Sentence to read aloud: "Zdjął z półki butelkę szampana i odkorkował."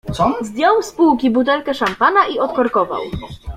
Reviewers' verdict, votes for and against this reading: rejected, 0, 2